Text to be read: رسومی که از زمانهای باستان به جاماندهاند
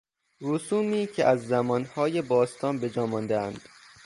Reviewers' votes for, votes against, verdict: 3, 0, accepted